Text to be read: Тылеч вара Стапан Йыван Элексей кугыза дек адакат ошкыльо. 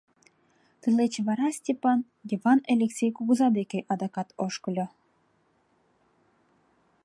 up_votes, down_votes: 0, 2